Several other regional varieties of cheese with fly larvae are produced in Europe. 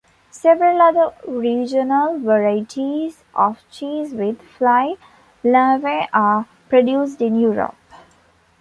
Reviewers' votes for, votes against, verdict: 2, 0, accepted